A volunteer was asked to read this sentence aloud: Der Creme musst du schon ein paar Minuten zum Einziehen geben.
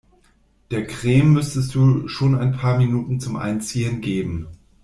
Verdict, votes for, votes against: rejected, 0, 2